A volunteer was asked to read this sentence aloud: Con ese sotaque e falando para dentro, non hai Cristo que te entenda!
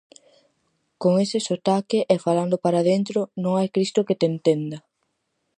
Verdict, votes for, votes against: accepted, 4, 0